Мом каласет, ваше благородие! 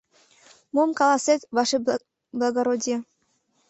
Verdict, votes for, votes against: rejected, 1, 2